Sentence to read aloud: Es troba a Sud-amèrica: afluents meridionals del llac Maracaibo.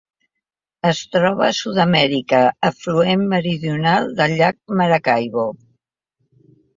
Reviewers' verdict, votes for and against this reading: rejected, 0, 2